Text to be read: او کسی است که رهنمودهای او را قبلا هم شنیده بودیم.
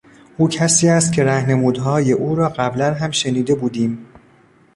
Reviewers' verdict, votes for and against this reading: rejected, 1, 2